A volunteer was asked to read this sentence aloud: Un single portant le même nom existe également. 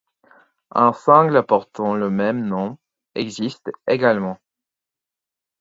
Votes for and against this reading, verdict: 4, 0, accepted